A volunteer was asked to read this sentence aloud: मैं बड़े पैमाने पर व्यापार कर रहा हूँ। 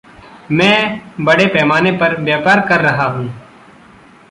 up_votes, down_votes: 1, 2